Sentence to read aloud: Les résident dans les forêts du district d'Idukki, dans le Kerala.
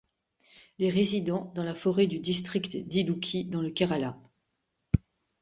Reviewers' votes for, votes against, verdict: 2, 3, rejected